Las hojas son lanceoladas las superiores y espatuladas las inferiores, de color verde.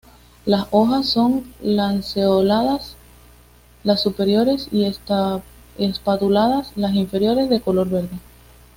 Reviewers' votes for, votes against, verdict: 1, 2, rejected